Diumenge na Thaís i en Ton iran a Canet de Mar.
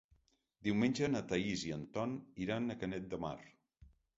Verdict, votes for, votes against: accepted, 3, 0